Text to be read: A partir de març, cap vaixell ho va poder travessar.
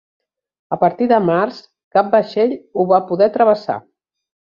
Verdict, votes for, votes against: accepted, 3, 0